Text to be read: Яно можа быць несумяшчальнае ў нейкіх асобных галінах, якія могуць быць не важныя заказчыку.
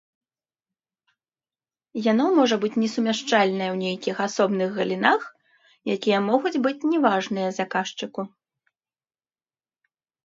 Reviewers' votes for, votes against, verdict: 0, 2, rejected